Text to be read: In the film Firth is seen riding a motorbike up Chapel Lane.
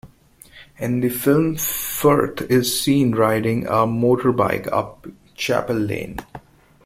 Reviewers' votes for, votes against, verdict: 1, 2, rejected